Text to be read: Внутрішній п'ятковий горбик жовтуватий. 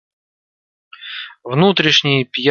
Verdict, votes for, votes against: rejected, 0, 2